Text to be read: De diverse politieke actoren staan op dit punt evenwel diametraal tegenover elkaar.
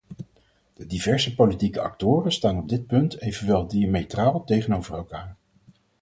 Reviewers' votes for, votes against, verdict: 4, 0, accepted